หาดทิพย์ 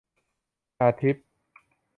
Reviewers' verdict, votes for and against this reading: rejected, 0, 2